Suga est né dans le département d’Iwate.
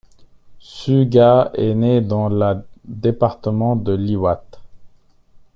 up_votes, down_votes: 0, 2